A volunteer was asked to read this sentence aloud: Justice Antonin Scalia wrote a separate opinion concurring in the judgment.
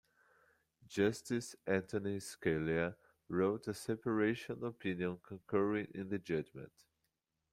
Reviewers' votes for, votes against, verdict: 0, 2, rejected